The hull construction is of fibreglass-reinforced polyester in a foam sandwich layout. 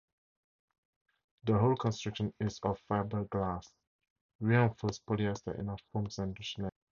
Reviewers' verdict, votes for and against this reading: rejected, 2, 2